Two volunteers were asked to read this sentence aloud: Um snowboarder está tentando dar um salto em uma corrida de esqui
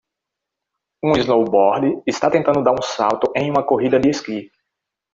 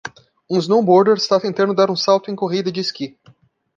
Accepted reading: first